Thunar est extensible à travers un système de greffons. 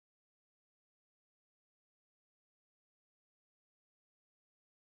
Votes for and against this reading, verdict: 0, 2, rejected